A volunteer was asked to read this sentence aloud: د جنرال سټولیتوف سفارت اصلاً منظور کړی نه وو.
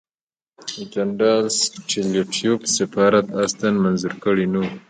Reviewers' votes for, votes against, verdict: 0, 2, rejected